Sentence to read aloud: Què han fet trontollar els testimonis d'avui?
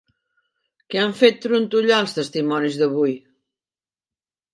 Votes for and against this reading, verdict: 2, 0, accepted